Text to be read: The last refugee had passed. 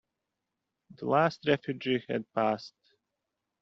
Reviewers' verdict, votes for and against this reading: accepted, 2, 0